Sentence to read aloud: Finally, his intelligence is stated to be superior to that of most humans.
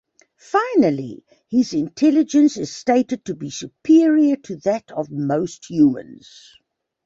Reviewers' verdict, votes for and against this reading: accepted, 2, 0